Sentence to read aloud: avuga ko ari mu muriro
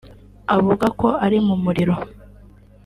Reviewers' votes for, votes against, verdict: 2, 0, accepted